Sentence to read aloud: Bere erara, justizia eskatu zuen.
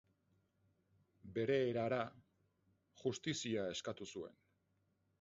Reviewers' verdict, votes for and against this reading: accepted, 6, 0